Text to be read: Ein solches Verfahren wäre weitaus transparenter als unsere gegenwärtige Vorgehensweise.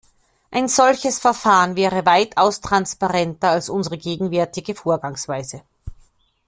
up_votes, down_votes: 1, 2